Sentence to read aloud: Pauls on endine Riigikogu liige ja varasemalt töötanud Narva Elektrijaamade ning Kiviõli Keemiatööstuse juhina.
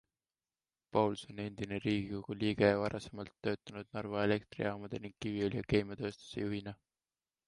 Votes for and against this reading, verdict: 2, 1, accepted